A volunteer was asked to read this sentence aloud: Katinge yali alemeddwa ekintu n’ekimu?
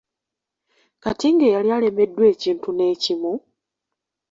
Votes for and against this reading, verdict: 3, 0, accepted